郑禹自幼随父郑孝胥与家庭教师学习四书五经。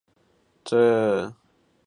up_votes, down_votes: 0, 3